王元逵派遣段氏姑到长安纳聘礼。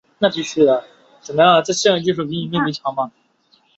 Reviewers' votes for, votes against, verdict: 0, 2, rejected